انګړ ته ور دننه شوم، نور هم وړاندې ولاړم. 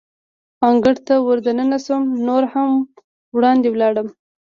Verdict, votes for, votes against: accepted, 2, 1